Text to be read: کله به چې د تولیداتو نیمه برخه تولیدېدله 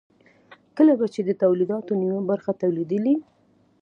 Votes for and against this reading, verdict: 2, 0, accepted